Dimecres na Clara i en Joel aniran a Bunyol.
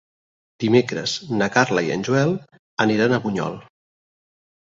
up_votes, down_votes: 2, 4